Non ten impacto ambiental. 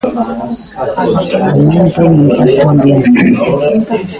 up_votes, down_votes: 0, 3